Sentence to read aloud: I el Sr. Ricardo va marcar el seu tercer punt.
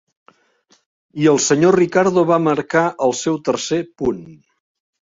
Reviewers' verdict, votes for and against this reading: rejected, 1, 2